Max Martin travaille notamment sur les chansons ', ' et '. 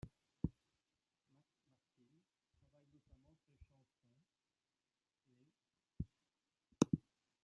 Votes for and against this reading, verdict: 0, 2, rejected